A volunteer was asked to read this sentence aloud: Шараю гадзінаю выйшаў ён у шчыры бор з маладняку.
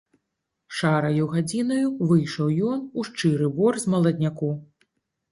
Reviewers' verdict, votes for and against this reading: accepted, 2, 0